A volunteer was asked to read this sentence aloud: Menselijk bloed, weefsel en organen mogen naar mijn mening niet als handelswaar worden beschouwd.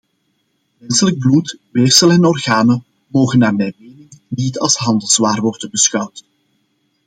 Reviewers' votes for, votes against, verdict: 2, 1, accepted